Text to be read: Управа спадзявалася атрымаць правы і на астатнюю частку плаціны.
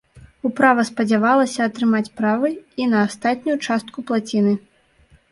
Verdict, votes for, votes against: rejected, 1, 2